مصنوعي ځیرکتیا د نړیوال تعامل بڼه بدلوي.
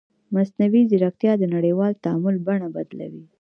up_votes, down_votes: 1, 2